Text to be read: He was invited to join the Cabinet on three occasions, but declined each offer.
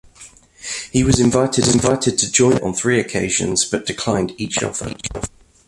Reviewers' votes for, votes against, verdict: 1, 2, rejected